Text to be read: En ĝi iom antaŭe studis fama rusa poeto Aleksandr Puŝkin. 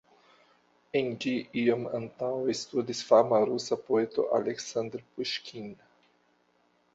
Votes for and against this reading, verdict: 2, 0, accepted